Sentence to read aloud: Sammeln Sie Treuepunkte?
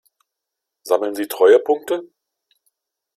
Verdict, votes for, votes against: accepted, 2, 0